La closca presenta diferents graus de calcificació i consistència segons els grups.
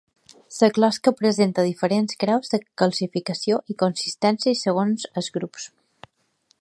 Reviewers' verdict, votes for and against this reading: rejected, 1, 2